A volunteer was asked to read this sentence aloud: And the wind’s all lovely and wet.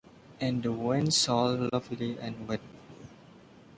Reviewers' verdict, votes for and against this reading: rejected, 0, 2